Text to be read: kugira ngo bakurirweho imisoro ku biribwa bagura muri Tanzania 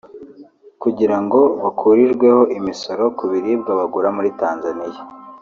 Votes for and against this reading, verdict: 1, 2, rejected